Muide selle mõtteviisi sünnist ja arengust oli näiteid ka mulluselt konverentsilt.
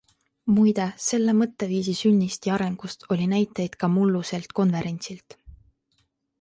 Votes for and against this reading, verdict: 2, 0, accepted